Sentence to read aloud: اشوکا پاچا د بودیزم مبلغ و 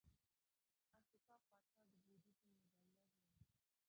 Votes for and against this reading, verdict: 0, 2, rejected